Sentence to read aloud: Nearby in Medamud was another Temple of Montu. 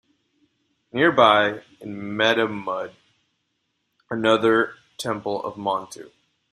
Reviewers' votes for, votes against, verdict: 0, 2, rejected